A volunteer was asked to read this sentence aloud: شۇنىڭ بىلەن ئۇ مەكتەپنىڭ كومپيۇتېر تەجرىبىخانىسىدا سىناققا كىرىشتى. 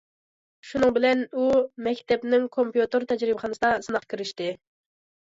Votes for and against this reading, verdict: 2, 0, accepted